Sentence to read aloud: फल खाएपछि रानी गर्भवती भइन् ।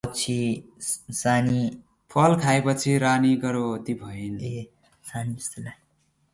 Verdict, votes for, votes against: rejected, 0, 2